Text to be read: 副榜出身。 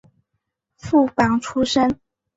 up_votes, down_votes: 2, 0